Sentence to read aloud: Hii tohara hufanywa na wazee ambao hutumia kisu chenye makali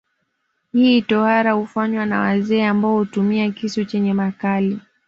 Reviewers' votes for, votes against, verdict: 2, 0, accepted